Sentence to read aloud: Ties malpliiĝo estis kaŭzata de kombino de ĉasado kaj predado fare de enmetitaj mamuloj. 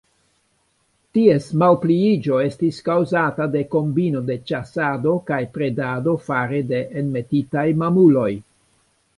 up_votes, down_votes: 2, 0